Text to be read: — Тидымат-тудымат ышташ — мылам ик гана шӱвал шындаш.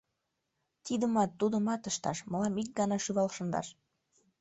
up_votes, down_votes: 2, 0